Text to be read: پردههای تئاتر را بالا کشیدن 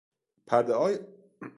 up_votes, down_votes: 1, 2